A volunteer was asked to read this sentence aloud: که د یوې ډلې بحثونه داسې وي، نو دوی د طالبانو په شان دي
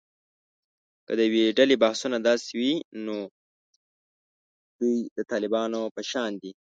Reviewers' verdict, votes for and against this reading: rejected, 1, 2